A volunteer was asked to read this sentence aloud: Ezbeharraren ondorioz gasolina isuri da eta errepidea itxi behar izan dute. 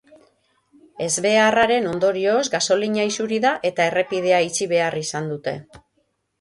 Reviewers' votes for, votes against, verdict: 3, 3, rejected